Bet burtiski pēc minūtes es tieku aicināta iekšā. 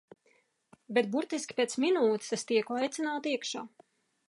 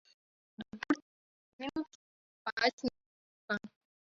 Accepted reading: first